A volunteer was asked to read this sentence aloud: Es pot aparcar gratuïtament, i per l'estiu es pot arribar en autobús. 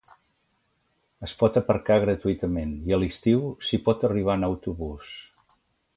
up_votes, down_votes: 0, 2